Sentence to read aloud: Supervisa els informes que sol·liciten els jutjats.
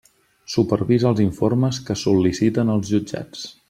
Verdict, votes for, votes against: accepted, 3, 0